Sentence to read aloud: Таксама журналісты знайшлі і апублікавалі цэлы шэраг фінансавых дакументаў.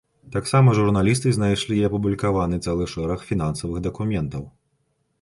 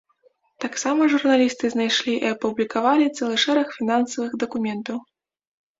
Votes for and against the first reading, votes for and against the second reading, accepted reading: 0, 2, 2, 0, second